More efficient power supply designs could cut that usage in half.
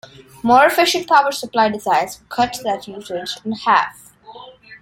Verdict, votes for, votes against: accepted, 2, 1